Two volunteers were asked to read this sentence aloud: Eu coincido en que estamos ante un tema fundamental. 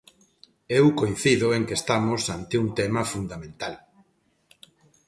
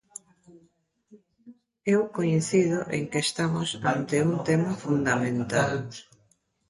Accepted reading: first